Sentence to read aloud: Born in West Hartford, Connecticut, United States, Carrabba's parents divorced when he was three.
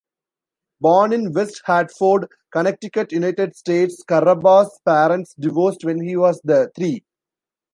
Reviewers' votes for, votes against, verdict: 1, 2, rejected